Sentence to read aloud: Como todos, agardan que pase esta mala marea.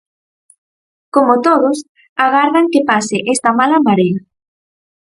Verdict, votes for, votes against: rejected, 2, 2